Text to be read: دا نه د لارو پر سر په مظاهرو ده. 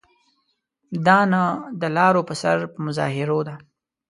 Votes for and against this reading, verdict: 2, 0, accepted